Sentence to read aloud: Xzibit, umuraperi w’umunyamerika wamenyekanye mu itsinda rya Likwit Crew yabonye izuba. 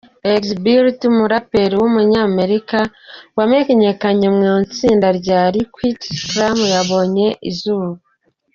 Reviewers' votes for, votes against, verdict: 2, 0, accepted